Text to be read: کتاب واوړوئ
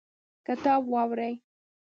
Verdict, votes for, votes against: rejected, 0, 2